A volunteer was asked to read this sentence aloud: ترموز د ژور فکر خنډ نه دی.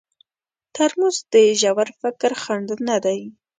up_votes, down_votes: 2, 0